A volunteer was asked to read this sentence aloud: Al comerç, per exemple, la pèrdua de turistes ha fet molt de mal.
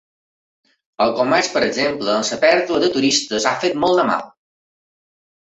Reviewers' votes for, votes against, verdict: 1, 2, rejected